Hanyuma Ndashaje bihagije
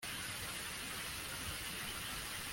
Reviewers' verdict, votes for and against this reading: rejected, 0, 2